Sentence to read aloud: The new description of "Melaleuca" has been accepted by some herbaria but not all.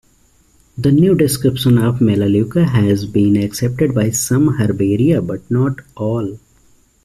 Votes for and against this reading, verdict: 1, 2, rejected